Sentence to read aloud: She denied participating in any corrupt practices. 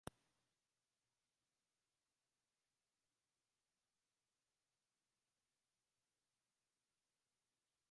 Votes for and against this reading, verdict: 0, 2, rejected